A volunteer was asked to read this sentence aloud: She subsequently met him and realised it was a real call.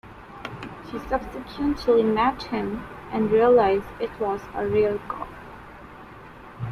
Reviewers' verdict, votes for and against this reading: accepted, 2, 0